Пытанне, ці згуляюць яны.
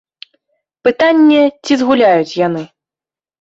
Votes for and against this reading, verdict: 2, 0, accepted